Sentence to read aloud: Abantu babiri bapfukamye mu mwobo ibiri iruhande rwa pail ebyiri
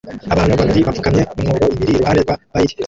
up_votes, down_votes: 1, 2